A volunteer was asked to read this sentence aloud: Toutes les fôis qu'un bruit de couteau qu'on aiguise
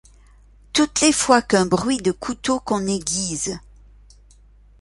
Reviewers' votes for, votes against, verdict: 1, 2, rejected